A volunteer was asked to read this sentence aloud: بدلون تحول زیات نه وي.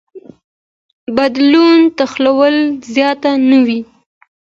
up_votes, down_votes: 2, 0